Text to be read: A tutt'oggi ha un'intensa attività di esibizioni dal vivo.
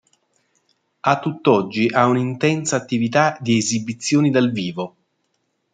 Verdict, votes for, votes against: accepted, 2, 0